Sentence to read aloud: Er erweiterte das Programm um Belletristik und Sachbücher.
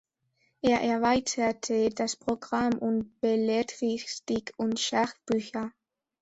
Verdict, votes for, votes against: rejected, 0, 2